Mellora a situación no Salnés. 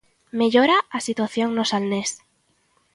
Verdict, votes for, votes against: accepted, 2, 0